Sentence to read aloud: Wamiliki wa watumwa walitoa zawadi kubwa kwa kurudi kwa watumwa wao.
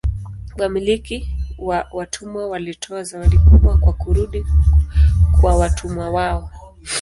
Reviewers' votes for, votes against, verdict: 2, 0, accepted